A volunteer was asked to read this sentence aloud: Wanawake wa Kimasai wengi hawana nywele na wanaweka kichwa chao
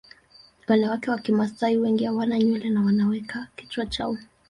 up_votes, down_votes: 2, 0